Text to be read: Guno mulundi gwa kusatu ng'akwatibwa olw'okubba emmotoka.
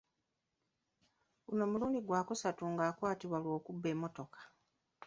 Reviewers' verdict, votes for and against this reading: accepted, 2, 0